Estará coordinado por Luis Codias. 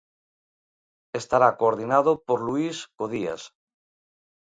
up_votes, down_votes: 0, 2